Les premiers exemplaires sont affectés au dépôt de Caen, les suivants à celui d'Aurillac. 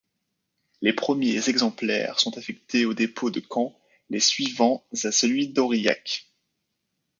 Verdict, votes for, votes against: rejected, 0, 2